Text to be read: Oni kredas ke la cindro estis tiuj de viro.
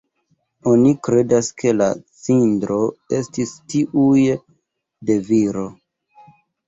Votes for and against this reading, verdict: 1, 2, rejected